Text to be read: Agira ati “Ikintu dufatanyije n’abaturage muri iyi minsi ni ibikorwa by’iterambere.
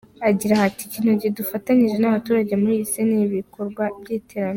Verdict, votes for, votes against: accepted, 2, 1